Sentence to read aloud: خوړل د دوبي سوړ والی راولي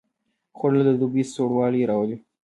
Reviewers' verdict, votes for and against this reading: rejected, 1, 2